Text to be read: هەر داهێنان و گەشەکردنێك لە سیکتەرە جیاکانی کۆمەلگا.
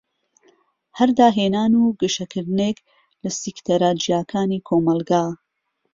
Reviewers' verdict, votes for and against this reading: accepted, 2, 1